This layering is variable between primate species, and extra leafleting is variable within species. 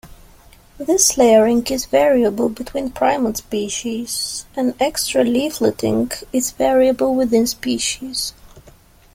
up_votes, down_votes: 1, 2